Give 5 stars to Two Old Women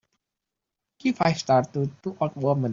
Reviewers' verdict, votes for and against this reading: rejected, 0, 2